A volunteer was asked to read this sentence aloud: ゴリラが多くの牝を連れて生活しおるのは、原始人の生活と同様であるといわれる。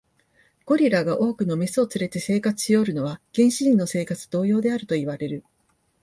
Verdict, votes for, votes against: accepted, 2, 0